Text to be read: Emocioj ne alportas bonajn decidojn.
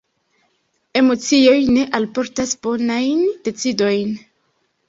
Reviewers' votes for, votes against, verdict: 2, 0, accepted